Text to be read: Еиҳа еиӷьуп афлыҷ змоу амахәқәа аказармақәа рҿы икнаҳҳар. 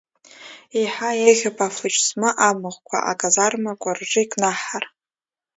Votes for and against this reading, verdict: 1, 2, rejected